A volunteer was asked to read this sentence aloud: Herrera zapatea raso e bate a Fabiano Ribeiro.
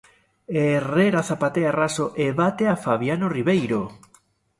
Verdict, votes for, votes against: accepted, 2, 0